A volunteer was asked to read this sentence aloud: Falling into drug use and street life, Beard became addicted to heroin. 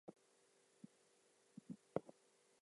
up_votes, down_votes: 0, 2